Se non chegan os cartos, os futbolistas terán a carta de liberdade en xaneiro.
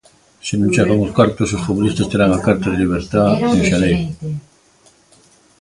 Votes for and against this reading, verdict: 0, 2, rejected